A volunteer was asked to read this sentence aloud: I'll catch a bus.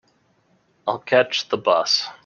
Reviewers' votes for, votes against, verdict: 0, 2, rejected